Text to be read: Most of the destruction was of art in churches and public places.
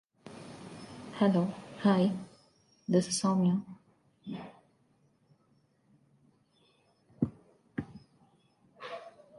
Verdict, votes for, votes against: rejected, 0, 2